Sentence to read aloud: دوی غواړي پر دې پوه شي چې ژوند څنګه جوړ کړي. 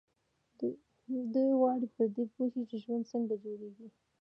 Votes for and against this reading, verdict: 1, 2, rejected